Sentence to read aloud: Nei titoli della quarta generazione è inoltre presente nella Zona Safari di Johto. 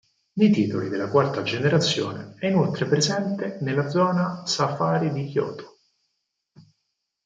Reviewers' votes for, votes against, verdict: 4, 0, accepted